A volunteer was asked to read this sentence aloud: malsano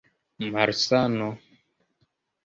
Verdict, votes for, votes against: rejected, 1, 2